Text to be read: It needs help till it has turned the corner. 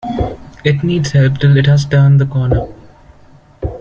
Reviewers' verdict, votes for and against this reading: accepted, 2, 1